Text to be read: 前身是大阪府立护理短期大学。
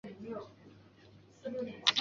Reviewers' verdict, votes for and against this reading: accepted, 3, 2